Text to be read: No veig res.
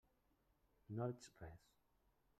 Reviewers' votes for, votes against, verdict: 0, 2, rejected